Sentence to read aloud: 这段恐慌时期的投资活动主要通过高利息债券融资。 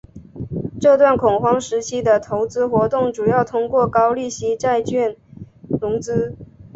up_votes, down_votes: 2, 0